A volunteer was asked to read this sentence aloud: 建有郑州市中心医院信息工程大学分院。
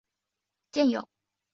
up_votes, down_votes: 3, 5